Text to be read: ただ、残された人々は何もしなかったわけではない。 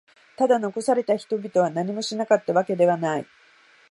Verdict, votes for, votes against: accepted, 2, 0